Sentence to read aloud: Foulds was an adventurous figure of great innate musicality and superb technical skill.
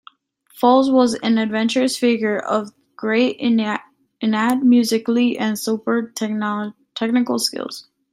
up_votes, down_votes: 1, 2